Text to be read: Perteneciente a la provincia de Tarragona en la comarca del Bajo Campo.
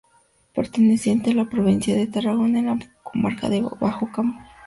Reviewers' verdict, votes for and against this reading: rejected, 0, 2